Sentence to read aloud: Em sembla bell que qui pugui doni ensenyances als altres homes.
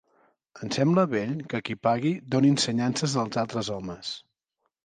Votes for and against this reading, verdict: 0, 3, rejected